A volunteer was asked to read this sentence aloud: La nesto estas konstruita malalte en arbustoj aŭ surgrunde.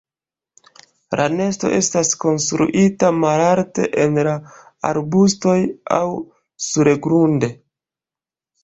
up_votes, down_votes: 2, 0